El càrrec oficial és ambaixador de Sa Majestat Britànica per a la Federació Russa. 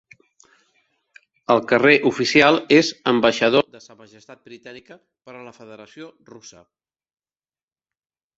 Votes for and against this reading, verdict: 0, 2, rejected